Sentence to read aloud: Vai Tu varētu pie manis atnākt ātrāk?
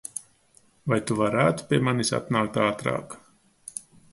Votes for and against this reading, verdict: 2, 0, accepted